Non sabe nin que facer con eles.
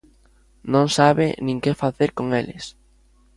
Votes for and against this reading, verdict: 2, 0, accepted